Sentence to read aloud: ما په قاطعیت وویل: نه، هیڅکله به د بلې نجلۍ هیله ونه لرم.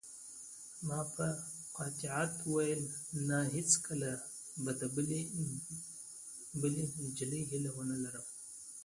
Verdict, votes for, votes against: accepted, 2, 0